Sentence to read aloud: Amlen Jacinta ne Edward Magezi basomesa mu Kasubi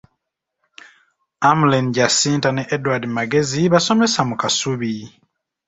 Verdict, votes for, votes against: accepted, 2, 0